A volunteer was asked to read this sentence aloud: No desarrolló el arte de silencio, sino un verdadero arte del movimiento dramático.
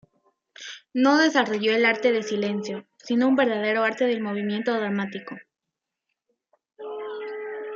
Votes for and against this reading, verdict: 2, 1, accepted